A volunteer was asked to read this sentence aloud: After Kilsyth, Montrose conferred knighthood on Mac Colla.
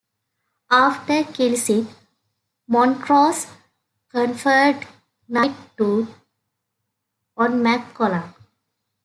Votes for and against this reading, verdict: 0, 2, rejected